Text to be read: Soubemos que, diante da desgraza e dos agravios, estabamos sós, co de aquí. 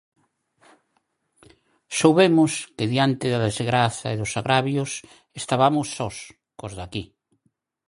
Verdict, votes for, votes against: rejected, 0, 4